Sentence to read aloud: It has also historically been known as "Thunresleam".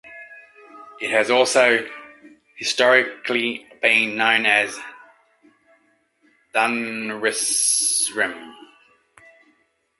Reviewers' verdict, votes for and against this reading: rejected, 1, 2